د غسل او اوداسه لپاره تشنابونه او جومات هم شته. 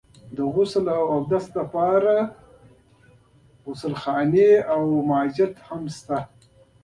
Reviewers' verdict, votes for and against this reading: accepted, 2, 0